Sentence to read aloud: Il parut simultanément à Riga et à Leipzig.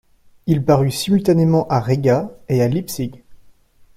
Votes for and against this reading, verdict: 2, 1, accepted